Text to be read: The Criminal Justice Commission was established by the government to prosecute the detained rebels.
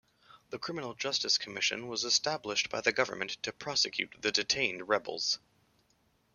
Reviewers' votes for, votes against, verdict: 2, 0, accepted